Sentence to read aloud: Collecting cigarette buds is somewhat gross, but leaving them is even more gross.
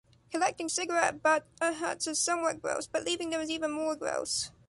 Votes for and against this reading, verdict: 0, 2, rejected